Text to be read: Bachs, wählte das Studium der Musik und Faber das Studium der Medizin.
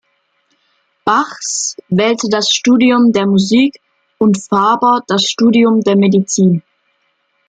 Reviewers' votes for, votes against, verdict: 2, 0, accepted